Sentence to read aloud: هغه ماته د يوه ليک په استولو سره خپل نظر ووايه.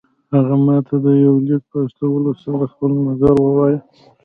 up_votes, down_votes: 2, 0